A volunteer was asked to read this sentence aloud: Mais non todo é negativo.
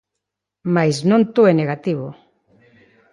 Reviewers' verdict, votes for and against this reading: rejected, 0, 2